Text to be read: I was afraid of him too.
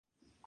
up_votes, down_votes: 0, 2